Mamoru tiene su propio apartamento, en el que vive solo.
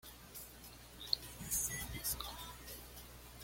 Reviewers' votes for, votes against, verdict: 1, 2, rejected